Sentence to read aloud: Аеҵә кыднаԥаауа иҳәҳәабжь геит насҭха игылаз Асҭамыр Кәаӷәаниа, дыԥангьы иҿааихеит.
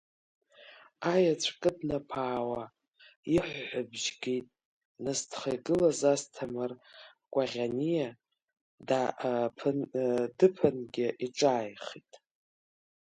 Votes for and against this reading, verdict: 1, 3, rejected